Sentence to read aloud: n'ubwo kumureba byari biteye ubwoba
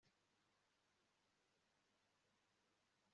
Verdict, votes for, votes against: rejected, 1, 2